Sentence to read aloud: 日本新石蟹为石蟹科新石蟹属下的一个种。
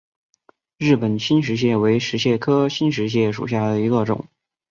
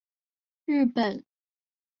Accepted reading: first